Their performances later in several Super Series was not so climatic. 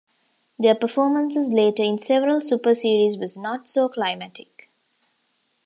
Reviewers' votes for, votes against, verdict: 2, 1, accepted